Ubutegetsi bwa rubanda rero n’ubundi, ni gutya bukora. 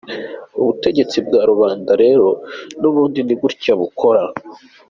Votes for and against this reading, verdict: 2, 0, accepted